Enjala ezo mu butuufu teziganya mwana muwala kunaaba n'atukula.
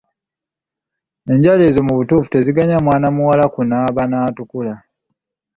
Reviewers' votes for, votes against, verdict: 2, 0, accepted